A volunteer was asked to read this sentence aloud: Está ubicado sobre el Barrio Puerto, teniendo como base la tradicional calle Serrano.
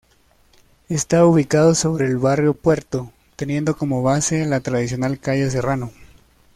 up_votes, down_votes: 2, 0